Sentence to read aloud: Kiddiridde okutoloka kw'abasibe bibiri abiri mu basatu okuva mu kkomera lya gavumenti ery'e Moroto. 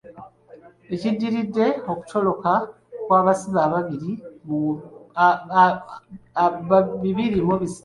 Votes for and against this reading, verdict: 0, 4, rejected